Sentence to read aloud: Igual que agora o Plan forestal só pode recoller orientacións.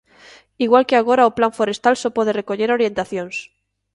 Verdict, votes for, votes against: accepted, 2, 0